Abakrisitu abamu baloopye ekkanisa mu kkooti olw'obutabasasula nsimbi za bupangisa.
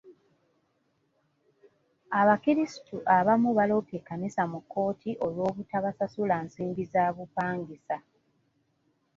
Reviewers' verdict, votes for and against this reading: accepted, 2, 0